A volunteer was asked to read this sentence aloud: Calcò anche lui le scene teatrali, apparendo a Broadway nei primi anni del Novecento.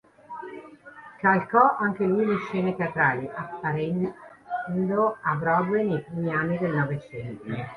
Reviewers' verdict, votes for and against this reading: rejected, 1, 3